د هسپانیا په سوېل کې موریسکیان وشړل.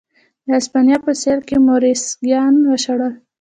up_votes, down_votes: 1, 2